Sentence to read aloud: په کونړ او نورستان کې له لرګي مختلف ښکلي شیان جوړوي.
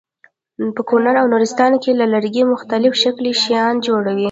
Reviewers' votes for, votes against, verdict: 1, 2, rejected